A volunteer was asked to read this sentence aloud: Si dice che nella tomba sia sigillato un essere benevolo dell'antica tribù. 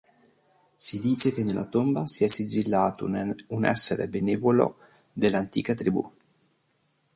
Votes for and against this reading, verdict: 1, 3, rejected